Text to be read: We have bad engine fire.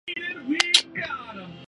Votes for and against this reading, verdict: 0, 2, rejected